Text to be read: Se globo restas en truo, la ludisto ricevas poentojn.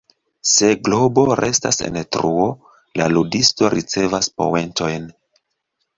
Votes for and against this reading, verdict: 2, 0, accepted